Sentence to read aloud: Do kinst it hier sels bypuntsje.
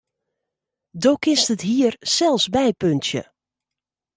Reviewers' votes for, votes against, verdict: 2, 1, accepted